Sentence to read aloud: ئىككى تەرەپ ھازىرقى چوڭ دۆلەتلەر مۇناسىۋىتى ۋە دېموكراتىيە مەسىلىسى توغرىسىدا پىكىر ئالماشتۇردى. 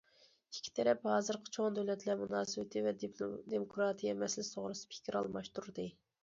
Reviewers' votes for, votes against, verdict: 0, 2, rejected